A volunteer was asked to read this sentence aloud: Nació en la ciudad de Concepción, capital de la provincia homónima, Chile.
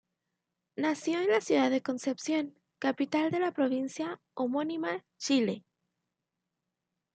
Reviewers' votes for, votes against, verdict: 2, 0, accepted